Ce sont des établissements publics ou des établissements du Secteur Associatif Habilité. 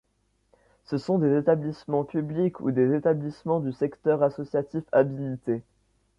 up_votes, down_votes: 2, 0